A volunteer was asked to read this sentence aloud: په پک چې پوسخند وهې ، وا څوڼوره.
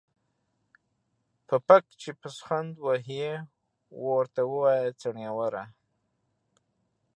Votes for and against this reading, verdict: 0, 2, rejected